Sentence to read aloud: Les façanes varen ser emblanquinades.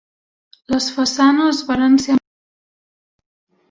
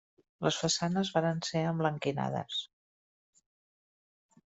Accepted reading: second